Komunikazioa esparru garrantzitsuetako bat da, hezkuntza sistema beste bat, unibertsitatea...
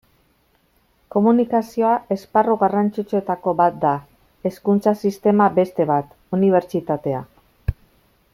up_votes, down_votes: 2, 0